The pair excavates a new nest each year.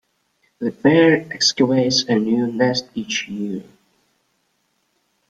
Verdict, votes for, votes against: accepted, 2, 0